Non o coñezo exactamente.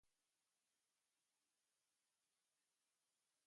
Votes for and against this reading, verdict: 0, 2, rejected